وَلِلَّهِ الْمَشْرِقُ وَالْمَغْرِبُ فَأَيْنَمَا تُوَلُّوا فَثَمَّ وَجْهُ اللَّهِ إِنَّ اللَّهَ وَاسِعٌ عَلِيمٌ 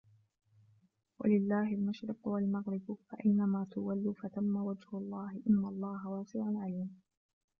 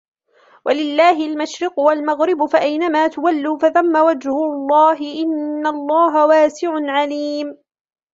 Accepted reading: second